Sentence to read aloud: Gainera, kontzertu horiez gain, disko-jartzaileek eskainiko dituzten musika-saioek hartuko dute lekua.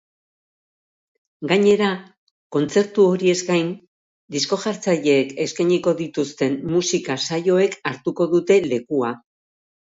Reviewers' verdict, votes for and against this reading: rejected, 1, 2